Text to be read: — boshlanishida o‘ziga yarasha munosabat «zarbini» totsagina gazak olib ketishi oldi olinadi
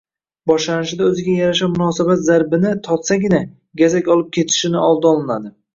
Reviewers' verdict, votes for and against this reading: rejected, 0, 2